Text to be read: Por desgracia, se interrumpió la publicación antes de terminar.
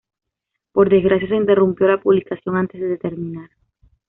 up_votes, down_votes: 2, 0